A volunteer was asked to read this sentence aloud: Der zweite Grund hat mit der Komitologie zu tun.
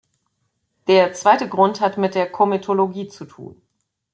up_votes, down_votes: 2, 0